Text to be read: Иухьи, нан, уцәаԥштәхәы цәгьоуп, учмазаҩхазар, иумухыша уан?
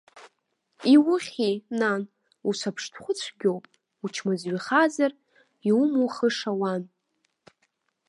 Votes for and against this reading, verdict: 1, 2, rejected